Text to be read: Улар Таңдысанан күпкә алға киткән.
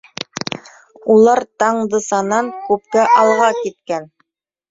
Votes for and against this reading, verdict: 1, 2, rejected